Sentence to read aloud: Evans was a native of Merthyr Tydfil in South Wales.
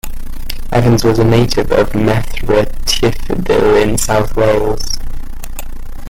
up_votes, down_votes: 0, 2